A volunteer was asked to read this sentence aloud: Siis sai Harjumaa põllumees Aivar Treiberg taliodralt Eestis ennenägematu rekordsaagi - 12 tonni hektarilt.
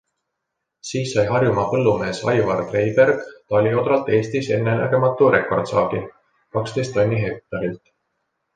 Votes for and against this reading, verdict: 0, 2, rejected